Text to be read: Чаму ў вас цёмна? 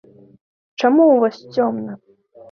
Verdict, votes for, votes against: accepted, 2, 0